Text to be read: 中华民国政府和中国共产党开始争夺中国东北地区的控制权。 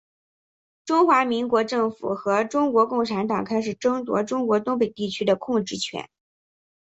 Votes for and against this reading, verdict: 7, 0, accepted